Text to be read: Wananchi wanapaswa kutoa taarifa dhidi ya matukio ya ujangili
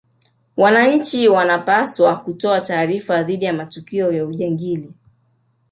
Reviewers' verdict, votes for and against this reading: rejected, 0, 2